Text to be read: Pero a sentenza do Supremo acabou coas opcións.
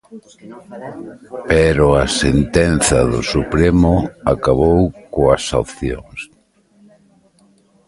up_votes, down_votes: 1, 2